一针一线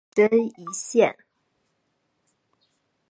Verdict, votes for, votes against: accepted, 2, 0